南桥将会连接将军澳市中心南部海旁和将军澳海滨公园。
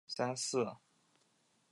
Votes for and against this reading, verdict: 0, 2, rejected